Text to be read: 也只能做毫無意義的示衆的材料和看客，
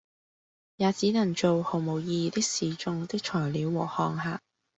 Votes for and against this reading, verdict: 2, 0, accepted